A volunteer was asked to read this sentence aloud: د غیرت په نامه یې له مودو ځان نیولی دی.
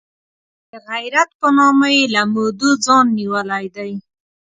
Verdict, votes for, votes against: accepted, 2, 0